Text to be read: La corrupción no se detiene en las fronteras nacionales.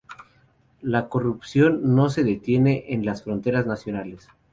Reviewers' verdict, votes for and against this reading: accepted, 2, 0